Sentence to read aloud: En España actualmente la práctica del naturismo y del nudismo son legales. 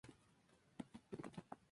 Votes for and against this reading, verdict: 0, 2, rejected